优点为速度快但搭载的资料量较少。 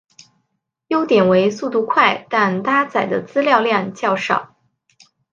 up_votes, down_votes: 5, 0